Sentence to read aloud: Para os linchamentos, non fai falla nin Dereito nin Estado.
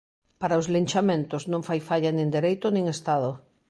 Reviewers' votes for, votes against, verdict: 2, 0, accepted